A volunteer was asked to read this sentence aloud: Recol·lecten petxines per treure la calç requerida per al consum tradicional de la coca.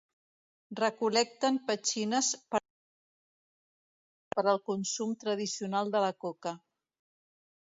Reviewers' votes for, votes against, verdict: 0, 2, rejected